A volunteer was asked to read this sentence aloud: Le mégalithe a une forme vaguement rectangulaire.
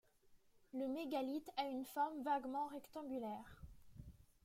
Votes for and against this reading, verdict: 2, 0, accepted